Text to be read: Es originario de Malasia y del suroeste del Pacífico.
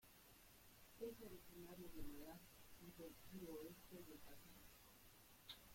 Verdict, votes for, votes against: rejected, 0, 2